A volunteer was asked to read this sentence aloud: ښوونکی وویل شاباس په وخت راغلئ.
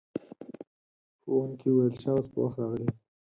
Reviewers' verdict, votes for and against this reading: rejected, 0, 4